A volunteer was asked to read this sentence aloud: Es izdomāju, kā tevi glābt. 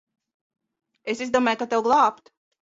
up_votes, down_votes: 0, 2